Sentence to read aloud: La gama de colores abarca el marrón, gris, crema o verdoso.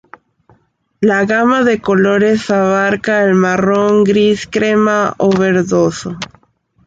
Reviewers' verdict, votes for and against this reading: accepted, 2, 0